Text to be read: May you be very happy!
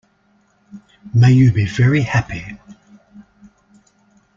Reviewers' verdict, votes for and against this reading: accepted, 2, 0